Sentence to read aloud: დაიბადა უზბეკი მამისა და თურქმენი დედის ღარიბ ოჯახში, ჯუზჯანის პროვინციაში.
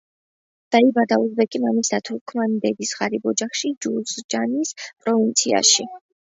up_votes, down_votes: 2, 1